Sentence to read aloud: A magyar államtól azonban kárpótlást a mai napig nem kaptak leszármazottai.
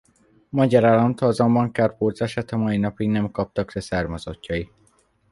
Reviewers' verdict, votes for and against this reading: rejected, 1, 2